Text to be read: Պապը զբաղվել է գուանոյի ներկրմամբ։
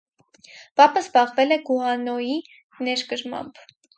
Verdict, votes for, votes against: rejected, 2, 2